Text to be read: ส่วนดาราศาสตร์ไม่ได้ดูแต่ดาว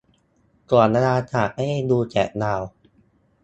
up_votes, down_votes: 0, 2